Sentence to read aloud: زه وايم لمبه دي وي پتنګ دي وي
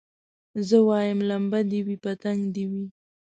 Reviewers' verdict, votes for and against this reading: rejected, 0, 2